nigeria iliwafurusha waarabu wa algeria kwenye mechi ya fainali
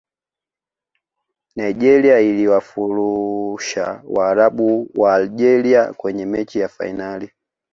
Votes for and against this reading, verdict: 0, 2, rejected